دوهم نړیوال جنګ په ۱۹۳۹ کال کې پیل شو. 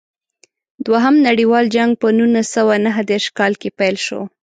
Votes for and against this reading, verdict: 0, 2, rejected